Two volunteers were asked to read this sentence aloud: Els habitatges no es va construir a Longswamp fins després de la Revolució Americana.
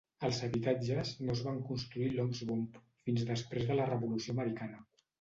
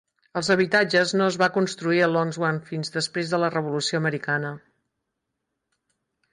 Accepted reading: second